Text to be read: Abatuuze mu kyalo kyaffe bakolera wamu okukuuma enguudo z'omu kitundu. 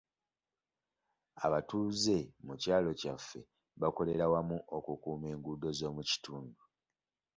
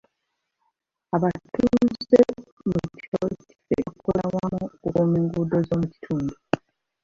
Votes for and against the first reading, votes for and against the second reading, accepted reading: 2, 0, 1, 2, first